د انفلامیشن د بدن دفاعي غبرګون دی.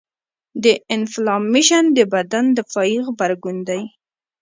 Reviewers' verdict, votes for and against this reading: rejected, 0, 2